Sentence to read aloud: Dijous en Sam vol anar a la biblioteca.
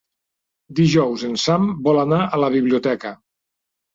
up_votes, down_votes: 3, 0